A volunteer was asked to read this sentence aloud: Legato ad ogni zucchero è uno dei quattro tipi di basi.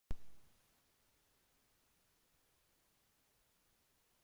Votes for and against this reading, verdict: 0, 2, rejected